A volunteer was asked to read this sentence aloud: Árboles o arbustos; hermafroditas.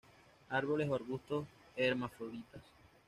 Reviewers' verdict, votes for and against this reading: accepted, 2, 0